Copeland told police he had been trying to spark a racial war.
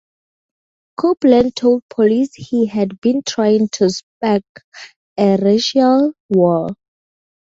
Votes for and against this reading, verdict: 4, 0, accepted